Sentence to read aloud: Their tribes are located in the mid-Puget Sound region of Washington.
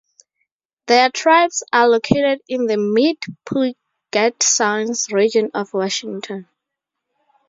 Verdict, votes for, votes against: rejected, 0, 2